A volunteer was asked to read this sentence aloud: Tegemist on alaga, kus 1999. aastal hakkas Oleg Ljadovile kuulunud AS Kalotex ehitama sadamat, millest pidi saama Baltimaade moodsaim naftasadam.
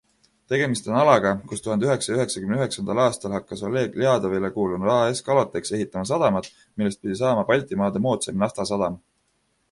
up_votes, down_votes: 0, 2